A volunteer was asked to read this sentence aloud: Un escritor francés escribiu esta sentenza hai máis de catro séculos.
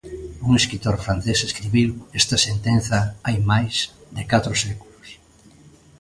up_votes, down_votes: 0, 2